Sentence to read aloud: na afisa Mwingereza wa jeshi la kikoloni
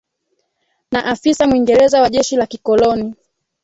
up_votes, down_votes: 1, 3